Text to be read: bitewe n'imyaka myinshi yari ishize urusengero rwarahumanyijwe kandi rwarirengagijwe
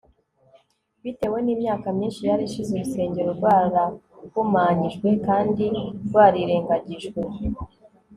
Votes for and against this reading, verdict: 2, 0, accepted